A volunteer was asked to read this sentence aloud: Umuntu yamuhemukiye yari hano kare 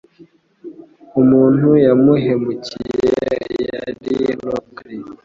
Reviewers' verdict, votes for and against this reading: rejected, 1, 2